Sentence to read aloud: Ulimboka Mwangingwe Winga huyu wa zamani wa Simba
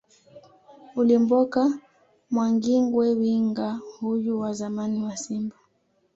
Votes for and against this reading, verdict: 2, 0, accepted